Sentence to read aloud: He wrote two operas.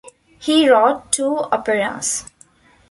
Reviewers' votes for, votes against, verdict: 2, 0, accepted